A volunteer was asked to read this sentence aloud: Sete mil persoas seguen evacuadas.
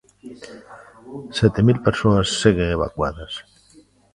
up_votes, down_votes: 1, 2